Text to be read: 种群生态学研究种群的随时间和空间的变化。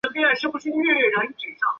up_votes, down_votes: 0, 4